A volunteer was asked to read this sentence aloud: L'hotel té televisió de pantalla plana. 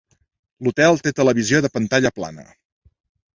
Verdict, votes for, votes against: accepted, 3, 0